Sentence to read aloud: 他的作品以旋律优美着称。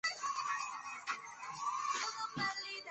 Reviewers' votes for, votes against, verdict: 0, 2, rejected